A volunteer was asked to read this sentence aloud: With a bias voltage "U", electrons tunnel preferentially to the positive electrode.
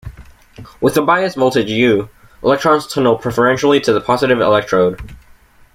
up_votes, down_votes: 2, 0